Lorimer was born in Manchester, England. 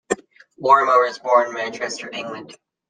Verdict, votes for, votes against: accepted, 2, 0